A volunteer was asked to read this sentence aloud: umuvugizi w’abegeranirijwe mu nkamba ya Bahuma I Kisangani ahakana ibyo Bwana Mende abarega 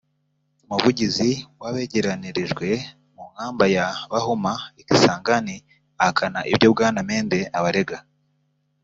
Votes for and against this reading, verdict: 2, 0, accepted